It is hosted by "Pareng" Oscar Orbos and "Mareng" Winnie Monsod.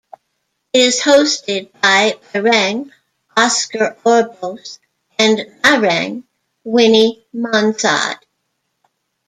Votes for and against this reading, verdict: 0, 2, rejected